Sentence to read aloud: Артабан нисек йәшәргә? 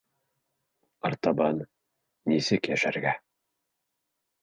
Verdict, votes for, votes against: accepted, 2, 0